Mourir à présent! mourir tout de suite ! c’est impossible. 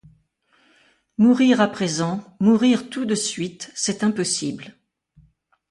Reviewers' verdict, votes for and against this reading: accepted, 2, 0